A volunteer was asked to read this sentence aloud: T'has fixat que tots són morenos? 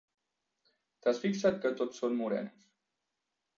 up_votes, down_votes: 1, 2